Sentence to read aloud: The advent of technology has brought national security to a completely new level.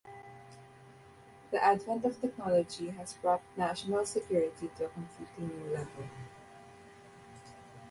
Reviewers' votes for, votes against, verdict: 2, 0, accepted